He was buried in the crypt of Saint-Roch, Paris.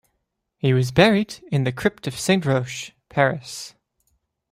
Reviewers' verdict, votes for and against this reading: accepted, 2, 0